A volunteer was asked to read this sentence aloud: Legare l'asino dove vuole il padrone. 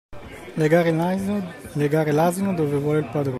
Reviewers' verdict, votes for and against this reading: rejected, 0, 2